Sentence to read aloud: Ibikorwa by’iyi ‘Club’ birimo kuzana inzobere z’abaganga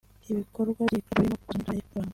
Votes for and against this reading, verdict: 0, 2, rejected